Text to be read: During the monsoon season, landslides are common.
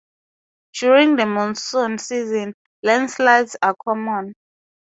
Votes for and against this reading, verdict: 4, 0, accepted